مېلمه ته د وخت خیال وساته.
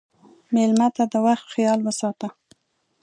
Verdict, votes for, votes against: accepted, 2, 0